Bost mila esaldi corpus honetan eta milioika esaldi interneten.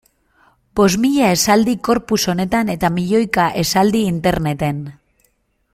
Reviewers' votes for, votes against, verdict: 2, 0, accepted